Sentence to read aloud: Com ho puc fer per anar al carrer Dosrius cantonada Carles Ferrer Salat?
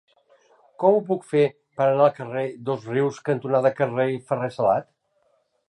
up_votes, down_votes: 1, 2